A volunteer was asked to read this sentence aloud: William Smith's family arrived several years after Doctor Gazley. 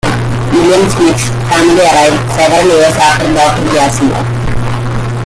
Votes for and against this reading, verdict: 0, 2, rejected